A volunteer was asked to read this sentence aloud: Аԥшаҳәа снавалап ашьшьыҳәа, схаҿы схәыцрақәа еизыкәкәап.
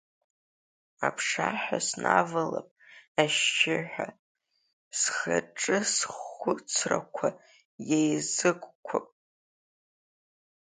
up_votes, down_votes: 1, 3